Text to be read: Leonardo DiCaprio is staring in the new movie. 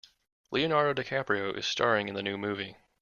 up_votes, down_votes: 0, 2